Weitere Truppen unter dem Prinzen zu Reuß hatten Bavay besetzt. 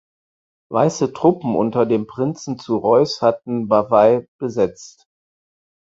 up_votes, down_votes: 2, 4